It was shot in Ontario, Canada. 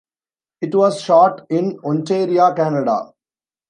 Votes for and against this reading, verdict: 1, 2, rejected